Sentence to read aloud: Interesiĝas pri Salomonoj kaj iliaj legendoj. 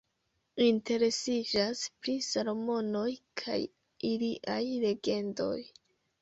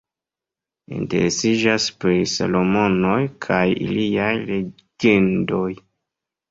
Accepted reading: second